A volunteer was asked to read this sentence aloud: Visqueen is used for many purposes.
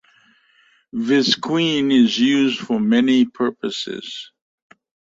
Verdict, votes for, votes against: accepted, 2, 0